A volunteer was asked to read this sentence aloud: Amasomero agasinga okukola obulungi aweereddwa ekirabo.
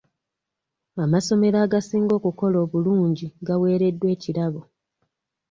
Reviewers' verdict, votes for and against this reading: accepted, 2, 1